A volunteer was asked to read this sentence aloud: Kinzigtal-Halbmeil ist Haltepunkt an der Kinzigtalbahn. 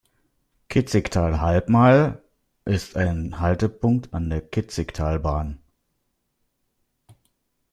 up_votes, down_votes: 0, 2